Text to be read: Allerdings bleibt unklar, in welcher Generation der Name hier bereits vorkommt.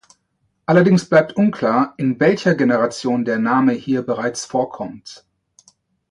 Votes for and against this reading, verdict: 2, 0, accepted